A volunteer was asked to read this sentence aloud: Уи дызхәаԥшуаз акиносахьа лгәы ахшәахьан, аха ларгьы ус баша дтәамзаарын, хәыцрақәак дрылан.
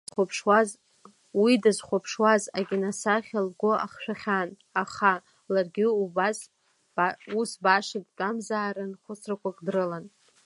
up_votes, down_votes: 1, 2